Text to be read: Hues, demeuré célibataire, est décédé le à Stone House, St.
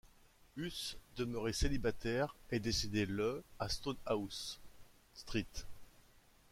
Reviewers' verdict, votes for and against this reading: rejected, 1, 2